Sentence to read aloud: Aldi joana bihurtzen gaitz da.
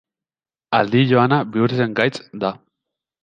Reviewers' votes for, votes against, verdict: 1, 2, rejected